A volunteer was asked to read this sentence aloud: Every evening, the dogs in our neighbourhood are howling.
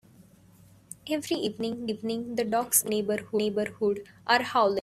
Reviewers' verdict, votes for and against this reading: rejected, 0, 2